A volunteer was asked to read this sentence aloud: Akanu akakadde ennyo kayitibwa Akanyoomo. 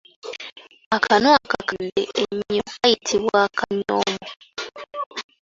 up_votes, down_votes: 2, 0